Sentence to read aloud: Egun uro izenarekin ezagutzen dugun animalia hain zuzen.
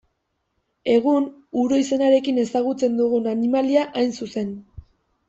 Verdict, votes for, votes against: accepted, 2, 0